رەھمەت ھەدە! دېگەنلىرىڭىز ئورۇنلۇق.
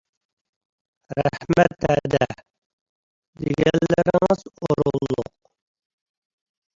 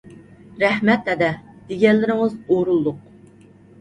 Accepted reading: second